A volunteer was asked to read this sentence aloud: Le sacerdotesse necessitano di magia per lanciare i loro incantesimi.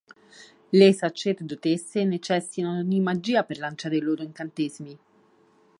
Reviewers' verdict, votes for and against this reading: accepted, 3, 1